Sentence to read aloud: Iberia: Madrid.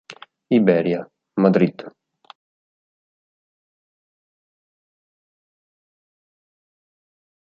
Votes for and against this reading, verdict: 2, 0, accepted